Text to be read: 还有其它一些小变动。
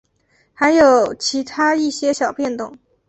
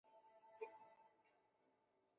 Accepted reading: first